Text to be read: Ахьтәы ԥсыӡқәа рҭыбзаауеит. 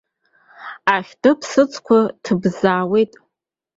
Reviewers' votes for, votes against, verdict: 1, 2, rejected